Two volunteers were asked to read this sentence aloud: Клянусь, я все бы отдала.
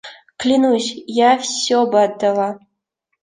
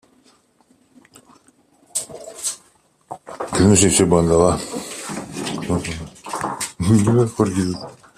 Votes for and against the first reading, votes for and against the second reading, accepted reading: 2, 0, 0, 2, first